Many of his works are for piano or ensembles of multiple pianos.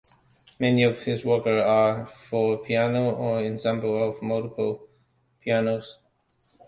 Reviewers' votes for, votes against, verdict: 0, 2, rejected